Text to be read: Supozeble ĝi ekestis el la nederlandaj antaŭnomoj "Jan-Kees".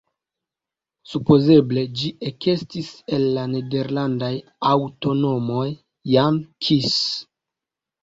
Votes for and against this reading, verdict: 0, 3, rejected